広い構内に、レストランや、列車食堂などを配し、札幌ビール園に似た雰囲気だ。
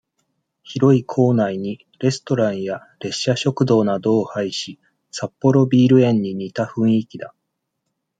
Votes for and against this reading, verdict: 2, 0, accepted